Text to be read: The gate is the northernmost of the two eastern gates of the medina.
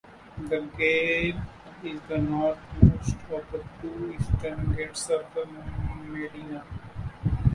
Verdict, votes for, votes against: rejected, 0, 2